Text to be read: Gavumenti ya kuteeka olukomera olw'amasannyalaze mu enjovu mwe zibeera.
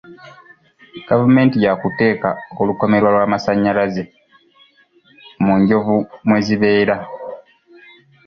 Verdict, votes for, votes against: accepted, 2, 1